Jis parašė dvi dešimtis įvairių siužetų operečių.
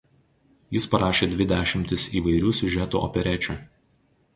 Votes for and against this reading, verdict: 2, 0, accepted